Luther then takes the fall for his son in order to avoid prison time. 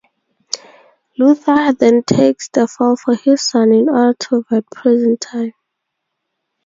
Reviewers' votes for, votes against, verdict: 2, 0, accepted